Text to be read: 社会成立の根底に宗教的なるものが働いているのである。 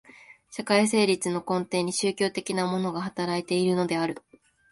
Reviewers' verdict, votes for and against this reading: rejected, 0, 2